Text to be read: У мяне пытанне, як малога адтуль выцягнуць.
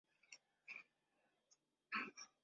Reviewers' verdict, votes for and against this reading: rejected, 0, 2